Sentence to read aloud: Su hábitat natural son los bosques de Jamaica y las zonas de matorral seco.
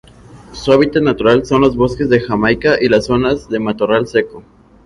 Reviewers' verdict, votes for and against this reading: accepted, 4, 0